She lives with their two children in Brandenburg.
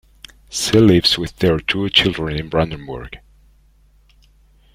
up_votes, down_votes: 2, 0